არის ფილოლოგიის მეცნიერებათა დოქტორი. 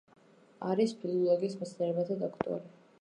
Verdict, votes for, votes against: accepted, 2, 0